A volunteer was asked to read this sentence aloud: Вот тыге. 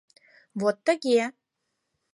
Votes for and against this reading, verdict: 4, 0, accepted